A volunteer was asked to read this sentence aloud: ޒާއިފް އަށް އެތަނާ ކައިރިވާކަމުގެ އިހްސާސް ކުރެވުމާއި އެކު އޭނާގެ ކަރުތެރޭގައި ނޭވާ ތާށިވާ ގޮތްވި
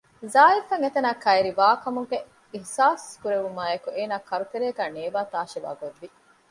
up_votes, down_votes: 1, 2